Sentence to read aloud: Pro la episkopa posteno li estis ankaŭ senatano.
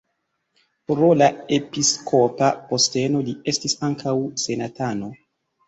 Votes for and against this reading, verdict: 2, 0, accepted